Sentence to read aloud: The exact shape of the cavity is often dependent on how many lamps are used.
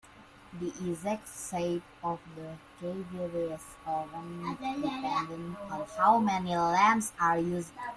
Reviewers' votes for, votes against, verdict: 0, 2, rejected